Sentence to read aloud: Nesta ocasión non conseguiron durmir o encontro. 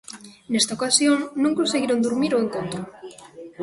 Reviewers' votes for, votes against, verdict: 2, 0, accepted